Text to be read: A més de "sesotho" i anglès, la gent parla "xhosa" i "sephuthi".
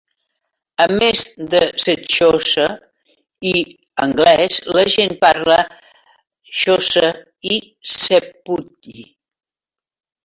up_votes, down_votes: 0, 2